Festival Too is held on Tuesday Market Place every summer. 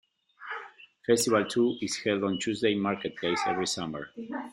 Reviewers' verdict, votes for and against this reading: accepted, 2, 1